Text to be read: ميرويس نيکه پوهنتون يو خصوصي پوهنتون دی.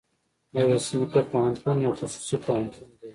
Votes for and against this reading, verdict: 2, 0, accepted